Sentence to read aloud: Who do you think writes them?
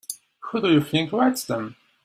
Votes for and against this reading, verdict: 1, 2, rejected